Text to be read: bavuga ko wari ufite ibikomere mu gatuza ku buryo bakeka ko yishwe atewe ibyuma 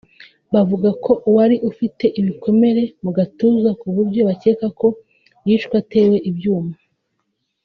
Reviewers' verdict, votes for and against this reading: accepted, 2, 0